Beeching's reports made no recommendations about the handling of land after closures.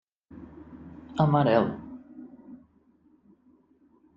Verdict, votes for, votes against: rejected, 0, 2